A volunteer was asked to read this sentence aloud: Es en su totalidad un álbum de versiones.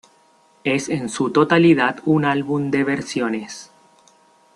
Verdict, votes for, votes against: accepted, 2, 0